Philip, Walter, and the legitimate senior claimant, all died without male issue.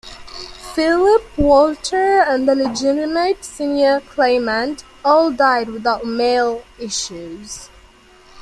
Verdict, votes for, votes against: rejected, 1, 2